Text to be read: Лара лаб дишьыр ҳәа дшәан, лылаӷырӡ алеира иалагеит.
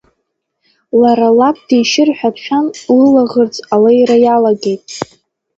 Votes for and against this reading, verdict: 2, 0, accepted